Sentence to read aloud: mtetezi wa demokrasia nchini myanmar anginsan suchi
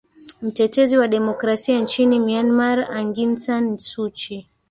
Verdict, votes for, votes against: rejected, 1, 2